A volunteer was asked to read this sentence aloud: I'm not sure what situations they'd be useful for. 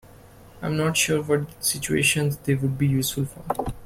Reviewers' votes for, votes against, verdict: 0, 2, rejected